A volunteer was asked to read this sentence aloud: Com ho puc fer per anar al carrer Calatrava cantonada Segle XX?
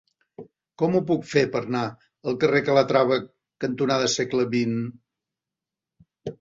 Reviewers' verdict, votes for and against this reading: rejected, 1, 2